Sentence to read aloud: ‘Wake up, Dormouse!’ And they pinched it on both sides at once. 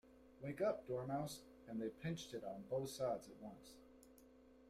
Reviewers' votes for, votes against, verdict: 0, 2, rejected